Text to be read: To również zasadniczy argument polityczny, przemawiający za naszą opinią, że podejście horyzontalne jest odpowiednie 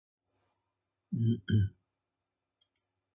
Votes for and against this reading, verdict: 0, 2, rejected